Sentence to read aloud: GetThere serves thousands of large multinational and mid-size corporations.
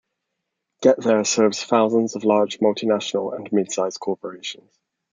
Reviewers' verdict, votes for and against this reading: accepted, 2, 0